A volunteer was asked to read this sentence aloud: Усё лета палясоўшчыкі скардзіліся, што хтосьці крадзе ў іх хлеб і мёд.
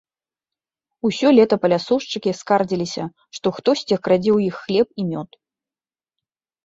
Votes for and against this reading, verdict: 2, 0, accepted